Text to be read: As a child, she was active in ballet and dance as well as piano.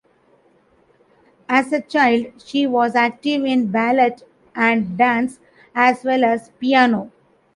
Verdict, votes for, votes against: rejected, 1, 2